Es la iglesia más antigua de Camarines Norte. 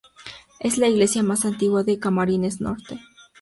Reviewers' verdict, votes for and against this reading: accepted, 2, 0